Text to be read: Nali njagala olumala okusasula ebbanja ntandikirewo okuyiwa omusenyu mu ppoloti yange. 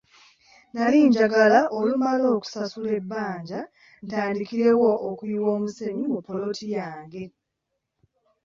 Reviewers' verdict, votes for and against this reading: accepted, 3, 0